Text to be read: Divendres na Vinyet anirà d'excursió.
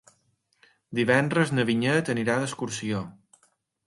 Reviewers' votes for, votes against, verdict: 4, 0, accepted